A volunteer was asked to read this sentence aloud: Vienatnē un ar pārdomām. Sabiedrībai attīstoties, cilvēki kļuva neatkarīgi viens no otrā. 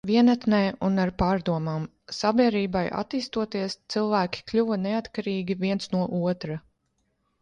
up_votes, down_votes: 0, 2